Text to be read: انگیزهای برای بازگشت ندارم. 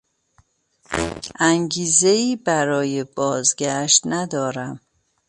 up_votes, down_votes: 1, 2